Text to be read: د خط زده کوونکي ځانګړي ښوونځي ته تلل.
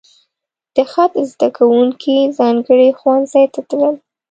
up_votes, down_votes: 2, 0